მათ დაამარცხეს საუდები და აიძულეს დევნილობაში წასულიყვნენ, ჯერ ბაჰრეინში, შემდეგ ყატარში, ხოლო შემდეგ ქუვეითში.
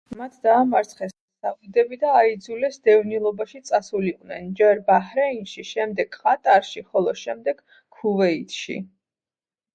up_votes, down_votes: 2, 0